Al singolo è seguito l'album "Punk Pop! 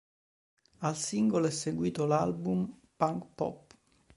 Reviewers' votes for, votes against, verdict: 3, 0, accepted